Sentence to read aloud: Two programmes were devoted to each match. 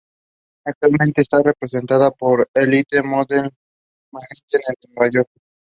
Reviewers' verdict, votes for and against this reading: rejected, 0, 2